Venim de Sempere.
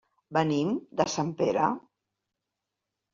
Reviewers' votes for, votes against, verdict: 2, 1, accepted